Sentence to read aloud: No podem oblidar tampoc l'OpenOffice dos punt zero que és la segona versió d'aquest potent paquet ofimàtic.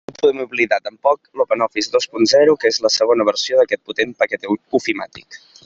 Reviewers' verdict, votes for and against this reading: rejected, 0, 2